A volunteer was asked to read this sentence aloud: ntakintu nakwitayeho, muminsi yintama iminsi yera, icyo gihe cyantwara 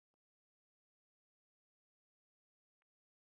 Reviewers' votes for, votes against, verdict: 1, 2, rejected